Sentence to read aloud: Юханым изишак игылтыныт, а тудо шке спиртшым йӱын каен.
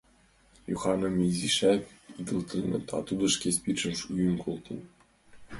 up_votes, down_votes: 0, 2